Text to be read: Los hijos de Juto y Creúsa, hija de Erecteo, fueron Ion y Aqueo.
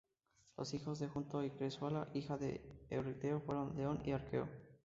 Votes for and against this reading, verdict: 0, 2, rejected